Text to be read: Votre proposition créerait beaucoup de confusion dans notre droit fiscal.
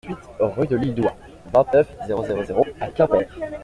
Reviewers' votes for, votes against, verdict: 0, 2, rejected